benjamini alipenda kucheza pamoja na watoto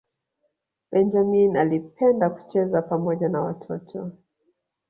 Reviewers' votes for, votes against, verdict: 0, 2, rejected